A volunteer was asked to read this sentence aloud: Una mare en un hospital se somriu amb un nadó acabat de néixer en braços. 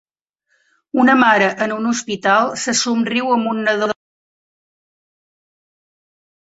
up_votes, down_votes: 1, 2